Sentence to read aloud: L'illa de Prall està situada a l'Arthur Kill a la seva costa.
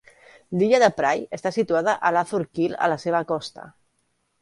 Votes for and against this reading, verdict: 1, 2, rejected